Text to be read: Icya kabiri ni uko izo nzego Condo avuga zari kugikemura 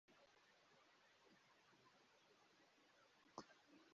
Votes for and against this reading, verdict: 0, 2, rejected